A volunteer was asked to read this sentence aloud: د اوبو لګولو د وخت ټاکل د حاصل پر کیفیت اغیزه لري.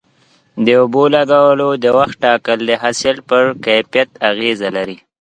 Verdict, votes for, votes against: accepted, 2, 0